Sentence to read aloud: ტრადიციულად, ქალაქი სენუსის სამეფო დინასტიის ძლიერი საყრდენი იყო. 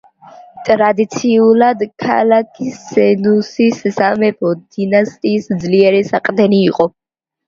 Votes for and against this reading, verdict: 2, 1, accepted